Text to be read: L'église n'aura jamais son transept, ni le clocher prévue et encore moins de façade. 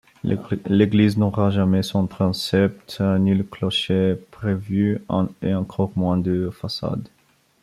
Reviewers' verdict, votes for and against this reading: rejected, 1, 2